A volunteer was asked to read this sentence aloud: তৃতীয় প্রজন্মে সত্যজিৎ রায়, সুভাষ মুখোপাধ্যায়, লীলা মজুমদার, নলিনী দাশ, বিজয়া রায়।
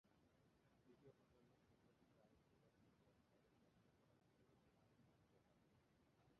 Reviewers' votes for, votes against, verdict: 0, 4, rejected